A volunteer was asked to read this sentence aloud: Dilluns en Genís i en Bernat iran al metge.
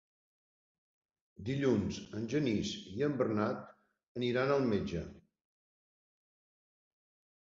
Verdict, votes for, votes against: rejected, 0, 2